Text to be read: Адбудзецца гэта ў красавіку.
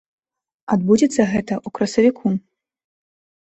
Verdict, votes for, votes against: accepted, 2, 0